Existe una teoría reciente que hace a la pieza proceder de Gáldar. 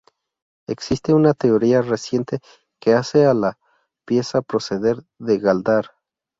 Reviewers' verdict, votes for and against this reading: rejected, 2, 2